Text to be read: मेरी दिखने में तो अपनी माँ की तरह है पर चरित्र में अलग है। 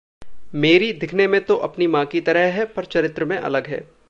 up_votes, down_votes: 2, 0